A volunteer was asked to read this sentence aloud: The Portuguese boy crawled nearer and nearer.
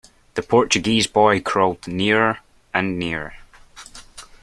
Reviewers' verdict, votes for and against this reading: accepted, 2, 0